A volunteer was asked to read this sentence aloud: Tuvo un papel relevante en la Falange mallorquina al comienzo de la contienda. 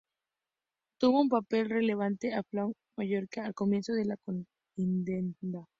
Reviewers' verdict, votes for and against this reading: rejected, 0, 2